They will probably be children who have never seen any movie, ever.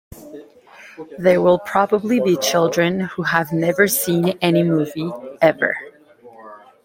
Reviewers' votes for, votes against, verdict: 2, 0, accepted